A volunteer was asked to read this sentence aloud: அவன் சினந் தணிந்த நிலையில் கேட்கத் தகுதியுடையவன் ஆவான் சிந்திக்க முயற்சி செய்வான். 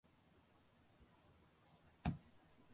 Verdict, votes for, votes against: rejected, 0, 2